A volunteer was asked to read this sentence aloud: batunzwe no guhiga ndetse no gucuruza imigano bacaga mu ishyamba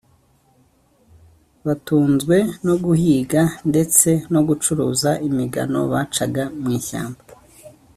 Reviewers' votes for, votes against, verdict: 2, 0, accepted